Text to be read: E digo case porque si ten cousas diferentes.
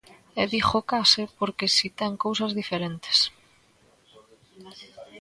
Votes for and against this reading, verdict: 1, 2, rejected